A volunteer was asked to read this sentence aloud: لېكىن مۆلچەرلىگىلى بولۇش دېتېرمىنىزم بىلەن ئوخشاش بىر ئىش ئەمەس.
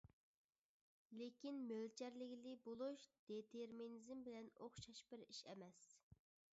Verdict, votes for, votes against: rejected, 1, 2